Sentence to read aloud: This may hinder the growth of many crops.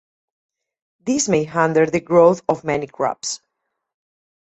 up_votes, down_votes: 2, 2